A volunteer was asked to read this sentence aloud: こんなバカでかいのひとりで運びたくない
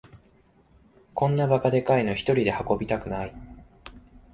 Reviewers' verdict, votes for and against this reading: accepted, 2, 0